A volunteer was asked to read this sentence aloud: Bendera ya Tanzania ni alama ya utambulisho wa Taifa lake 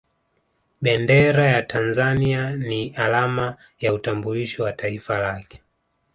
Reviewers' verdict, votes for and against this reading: accepted, 2, 0